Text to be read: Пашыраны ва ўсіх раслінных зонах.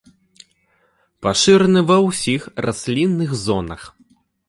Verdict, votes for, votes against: accepted, 2, 0